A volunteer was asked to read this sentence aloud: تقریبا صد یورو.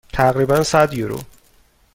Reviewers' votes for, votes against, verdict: 2, 0, accepted